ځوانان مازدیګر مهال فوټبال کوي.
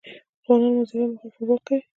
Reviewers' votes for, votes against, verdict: 0, 2, rejected